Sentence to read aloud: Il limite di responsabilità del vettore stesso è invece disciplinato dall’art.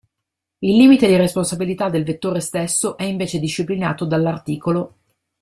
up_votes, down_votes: 1, 2